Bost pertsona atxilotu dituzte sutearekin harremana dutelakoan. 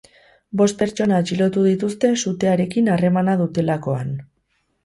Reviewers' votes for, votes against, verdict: 4, 0, accepted